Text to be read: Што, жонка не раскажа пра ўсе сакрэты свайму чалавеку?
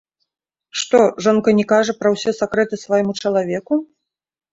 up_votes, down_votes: 0, 2